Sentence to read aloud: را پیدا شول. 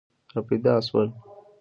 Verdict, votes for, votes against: rejected, 1, 2